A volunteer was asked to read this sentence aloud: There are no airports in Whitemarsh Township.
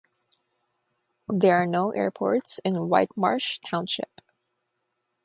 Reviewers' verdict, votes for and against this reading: rejected, 3, 3